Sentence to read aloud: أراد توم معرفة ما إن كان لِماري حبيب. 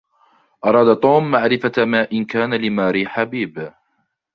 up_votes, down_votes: 2, 0